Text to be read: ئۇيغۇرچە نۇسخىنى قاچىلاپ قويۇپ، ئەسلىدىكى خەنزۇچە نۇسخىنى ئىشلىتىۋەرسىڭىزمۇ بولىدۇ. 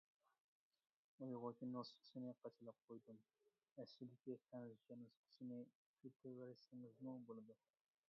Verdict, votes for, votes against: rejected, 0, 2